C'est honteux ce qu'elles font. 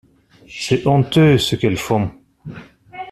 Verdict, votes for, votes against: accepted, 2, 0